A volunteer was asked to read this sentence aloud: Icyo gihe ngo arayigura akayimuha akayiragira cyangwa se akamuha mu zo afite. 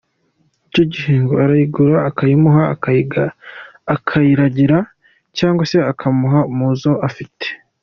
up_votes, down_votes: 3, 2